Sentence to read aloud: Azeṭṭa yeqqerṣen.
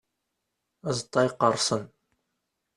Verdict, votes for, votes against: accepted, 2, 0